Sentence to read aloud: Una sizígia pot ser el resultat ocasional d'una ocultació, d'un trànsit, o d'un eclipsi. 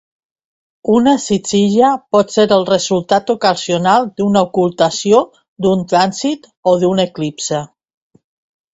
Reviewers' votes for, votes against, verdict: 0, 2, rejected